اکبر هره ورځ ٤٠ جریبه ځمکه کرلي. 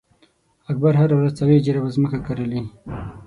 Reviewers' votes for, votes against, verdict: 0, 2, rejected